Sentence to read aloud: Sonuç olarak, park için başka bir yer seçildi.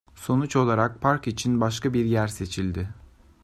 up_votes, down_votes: 2, 0